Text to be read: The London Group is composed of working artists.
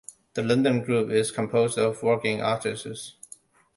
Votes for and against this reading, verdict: 2, 0, accepted